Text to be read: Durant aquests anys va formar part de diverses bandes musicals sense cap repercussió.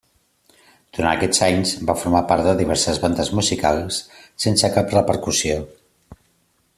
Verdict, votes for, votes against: accepted, 3, 0